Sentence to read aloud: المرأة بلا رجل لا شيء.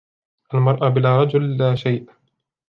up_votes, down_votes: 2, 0